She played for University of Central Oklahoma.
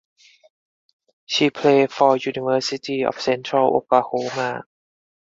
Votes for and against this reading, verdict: 4, 0, accepted